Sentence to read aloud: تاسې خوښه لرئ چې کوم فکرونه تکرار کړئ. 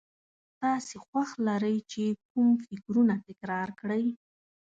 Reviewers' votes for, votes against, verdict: 0, 2, rejected